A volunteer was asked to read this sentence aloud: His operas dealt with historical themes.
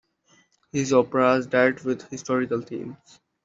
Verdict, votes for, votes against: accepted, 2, 0